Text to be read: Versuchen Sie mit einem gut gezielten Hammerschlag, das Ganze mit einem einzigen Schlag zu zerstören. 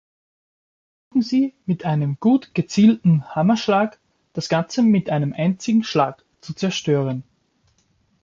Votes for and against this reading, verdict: 0, 2, rejected